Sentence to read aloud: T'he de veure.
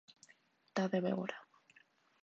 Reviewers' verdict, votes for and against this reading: rejected, 1, 2